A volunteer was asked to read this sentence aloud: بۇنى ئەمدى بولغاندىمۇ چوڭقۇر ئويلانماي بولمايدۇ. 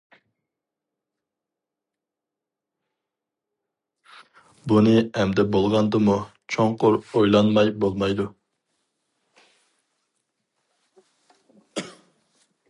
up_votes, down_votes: 2, 0